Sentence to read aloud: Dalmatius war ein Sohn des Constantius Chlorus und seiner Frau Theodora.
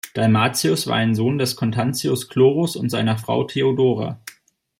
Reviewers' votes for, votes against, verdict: 0, 2, rejected